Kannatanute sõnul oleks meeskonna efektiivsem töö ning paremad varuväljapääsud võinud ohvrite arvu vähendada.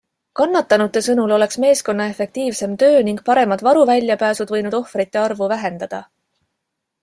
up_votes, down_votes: 2, 0